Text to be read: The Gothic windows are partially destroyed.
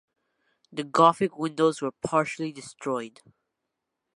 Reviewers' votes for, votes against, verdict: 2, 1, accepted